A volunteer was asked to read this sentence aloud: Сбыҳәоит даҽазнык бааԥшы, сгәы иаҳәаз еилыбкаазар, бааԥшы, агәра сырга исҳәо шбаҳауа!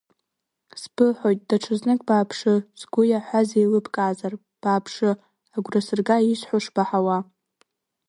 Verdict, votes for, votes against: accepted, 2, 1